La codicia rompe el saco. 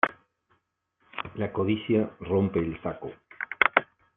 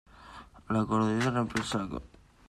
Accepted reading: first